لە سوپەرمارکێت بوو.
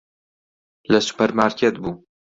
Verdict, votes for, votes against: accepted, 2, 0